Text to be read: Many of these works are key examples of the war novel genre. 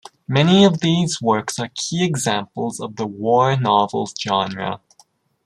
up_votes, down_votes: 2, 0